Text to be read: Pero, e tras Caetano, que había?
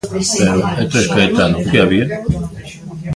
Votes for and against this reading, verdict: 0, 2, rejected